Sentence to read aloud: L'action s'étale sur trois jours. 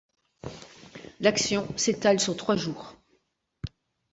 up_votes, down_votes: 3, 0